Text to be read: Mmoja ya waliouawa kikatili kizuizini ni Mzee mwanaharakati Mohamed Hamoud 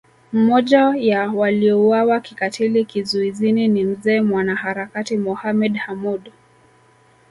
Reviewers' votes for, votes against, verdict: 1, 2, rejected